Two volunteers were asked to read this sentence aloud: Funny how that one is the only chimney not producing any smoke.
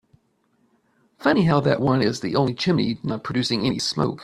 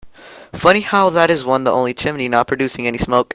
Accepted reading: first